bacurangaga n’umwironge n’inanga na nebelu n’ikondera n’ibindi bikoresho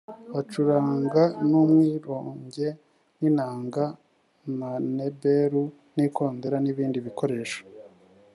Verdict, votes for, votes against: rejected, 1, 2